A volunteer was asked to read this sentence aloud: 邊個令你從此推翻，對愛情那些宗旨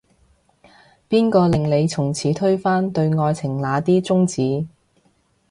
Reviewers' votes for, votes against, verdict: 0, 2, rejected